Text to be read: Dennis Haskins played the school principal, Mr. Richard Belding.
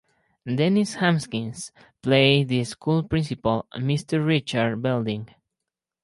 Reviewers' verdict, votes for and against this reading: rejected, 2, 2